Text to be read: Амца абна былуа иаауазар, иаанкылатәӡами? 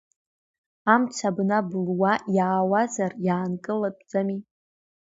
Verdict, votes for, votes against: accepted, 2, 0